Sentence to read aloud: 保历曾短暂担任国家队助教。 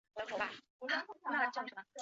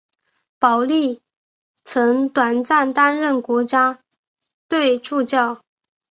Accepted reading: second